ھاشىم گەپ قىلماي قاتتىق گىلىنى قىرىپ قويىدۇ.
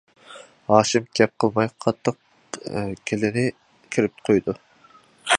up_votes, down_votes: 0, 2